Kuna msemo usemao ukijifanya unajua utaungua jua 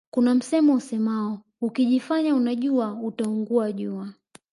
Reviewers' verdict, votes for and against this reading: rejected, 1, 2